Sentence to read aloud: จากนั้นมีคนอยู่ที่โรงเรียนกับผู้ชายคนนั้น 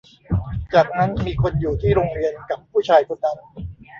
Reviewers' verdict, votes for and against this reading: accepted, 2, 1